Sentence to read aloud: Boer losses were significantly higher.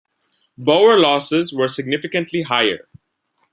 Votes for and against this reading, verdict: 2, 0, accepted